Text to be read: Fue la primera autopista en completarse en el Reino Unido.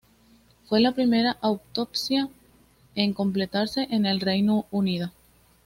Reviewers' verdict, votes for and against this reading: rejected, 1, 2